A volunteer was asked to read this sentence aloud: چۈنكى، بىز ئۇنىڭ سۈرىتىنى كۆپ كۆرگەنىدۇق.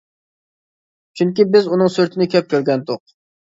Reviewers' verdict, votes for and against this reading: rejected, 0, 2